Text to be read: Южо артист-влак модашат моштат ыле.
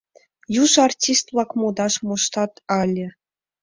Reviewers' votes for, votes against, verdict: 1, 2, rejected